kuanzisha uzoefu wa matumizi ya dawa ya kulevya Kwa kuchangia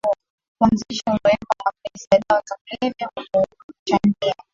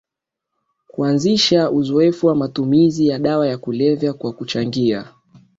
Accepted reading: second